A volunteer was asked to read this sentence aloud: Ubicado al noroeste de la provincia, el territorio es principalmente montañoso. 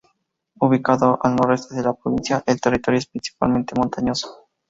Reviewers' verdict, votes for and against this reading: accepted, 2, 0